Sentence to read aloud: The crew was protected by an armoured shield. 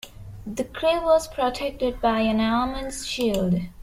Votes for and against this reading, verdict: 2, 0, accepted